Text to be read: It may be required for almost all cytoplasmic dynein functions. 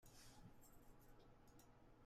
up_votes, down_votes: 0, 2